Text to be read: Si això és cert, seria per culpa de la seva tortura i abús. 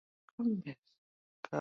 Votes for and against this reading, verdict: 0, 2, rejected